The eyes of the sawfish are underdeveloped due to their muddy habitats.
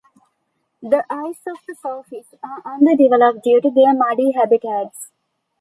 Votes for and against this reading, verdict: 2, 0, accepted